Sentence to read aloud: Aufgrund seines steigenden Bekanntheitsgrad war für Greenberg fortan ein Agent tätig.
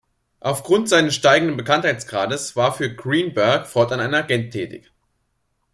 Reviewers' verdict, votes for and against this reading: rejected, 1, 2